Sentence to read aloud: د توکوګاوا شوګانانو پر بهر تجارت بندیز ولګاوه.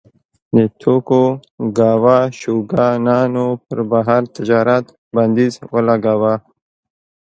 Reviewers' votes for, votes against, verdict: 1, 2, rejected